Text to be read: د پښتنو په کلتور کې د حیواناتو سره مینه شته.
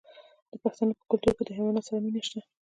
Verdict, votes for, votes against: rejected, 1, 2